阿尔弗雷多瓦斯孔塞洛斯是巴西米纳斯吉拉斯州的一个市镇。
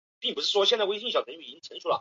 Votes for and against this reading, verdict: 0, 2, rejected